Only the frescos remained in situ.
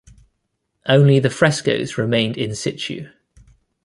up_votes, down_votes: 2, 0